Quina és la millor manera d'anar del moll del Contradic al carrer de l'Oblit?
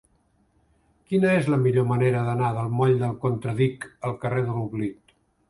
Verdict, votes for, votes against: accepted, 4, 0